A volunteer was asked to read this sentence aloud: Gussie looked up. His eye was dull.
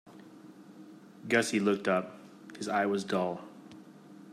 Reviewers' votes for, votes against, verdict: 2, 0, accepted